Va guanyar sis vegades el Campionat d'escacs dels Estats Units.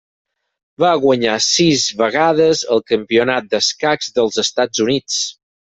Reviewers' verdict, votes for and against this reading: accepted, 6, 0